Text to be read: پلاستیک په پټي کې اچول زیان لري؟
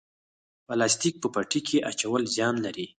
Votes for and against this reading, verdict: 0, 4, rejected